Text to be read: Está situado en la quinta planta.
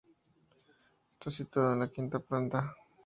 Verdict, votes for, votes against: accepted, 2, 0